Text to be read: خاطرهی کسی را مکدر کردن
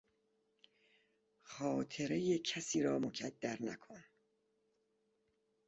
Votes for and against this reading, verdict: 0, 2, rejected